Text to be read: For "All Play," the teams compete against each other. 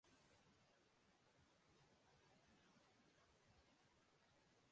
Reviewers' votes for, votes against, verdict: 0, 2, rejected